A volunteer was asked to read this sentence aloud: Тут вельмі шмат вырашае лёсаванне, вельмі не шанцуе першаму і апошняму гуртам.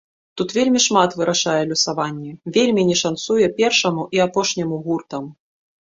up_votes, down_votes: 2, 0